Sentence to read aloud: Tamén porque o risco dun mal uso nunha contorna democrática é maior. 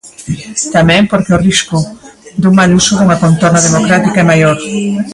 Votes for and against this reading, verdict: 2, 1, accepted